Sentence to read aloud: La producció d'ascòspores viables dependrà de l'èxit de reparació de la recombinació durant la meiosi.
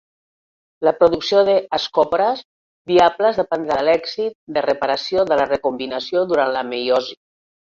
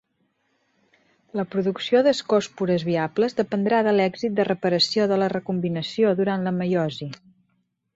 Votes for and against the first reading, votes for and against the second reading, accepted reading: 1, 2, 2, 0, second